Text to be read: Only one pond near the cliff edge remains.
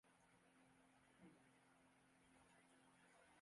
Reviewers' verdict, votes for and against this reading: rejected, 0, 3